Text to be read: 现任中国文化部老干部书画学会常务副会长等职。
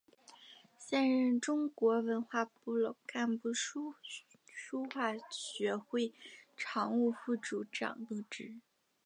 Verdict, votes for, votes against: accepted, 3, 2